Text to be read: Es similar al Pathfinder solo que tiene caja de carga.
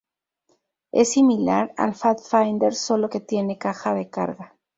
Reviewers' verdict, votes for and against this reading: rejected, 0, 2